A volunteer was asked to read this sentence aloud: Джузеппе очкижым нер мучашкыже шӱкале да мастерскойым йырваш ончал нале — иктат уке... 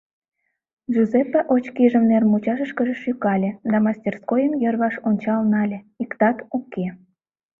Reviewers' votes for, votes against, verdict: 1, 2, rejected